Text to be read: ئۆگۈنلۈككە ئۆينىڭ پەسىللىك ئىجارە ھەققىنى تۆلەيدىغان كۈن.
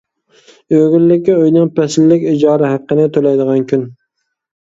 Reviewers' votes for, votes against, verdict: 2, 0, accepted